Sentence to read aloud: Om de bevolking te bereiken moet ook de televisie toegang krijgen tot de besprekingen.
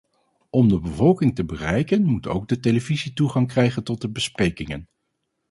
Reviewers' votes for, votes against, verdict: 4, 0, accepted